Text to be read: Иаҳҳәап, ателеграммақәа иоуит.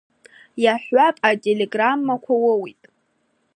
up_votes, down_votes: 0, 3